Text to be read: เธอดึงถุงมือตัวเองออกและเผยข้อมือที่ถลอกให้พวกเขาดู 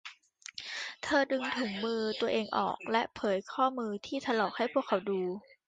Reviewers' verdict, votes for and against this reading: rejected, 1, 2